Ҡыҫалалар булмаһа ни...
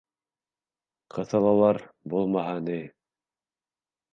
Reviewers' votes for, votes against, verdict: 3, 0, accepted